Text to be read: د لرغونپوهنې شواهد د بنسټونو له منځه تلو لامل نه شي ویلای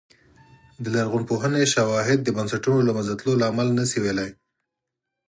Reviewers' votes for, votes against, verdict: 4, 0, accepted